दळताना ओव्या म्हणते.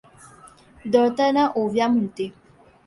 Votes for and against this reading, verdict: 2, 0, accepted